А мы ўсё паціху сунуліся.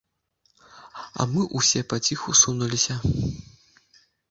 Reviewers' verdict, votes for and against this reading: rejected, 1, 2